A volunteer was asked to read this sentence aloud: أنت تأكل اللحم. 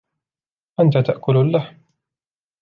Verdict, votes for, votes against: accepted, 2, 1